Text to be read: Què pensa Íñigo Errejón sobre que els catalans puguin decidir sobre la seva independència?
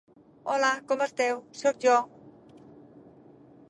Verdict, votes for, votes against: rejected, 0, 2